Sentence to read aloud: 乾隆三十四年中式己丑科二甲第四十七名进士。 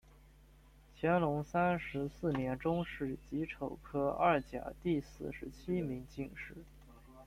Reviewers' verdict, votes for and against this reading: accepted, 2, 1